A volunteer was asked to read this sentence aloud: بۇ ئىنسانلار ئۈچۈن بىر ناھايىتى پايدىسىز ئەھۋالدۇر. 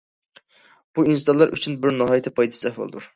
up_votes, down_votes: 2, 0